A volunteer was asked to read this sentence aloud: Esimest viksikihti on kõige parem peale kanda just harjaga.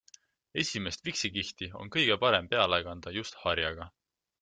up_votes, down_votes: 2, 1